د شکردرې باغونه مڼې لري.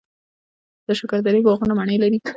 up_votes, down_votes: 1, 2